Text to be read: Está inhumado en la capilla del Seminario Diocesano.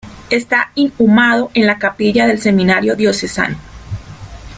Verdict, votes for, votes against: rejected, 0, 2